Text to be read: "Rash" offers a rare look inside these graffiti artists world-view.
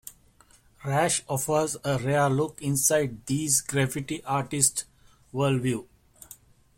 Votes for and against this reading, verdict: 2, 1, accepted